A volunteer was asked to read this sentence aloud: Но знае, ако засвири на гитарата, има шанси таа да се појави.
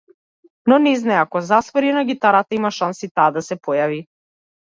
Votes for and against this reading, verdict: 1, 2, rejected